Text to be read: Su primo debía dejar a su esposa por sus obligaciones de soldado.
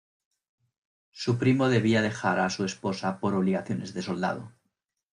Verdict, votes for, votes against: accepted, 2, 0